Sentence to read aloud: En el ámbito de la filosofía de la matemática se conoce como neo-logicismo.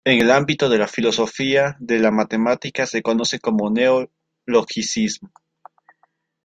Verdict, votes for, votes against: rejected, 1, 2